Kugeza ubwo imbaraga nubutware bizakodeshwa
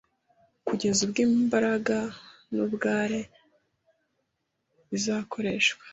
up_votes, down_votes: 1, 2